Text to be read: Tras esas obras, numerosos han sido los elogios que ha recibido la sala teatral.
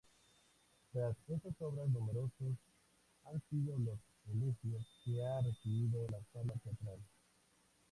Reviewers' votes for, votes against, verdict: 0, 4, rejected